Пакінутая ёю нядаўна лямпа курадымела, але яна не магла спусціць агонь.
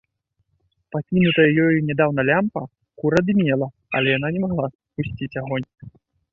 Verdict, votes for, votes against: rejected, 1, 2